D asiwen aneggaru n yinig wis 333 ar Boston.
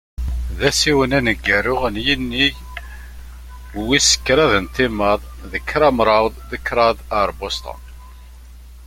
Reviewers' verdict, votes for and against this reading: rejected, 0, 2